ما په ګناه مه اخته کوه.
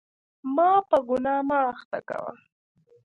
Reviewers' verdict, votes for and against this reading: accepted, 2, 0